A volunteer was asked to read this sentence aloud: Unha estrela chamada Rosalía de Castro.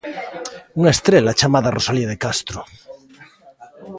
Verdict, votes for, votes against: accepted, 2, 0